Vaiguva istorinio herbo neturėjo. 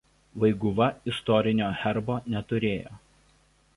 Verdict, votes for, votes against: accepted, 2, 0